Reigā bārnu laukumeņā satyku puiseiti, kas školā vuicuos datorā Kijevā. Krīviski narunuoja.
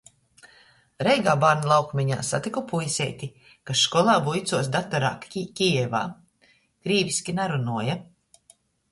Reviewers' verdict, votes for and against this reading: rejected, 0, 2